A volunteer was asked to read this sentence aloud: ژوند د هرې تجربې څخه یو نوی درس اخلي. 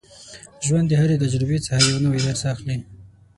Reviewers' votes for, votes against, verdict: 0, 12, rejected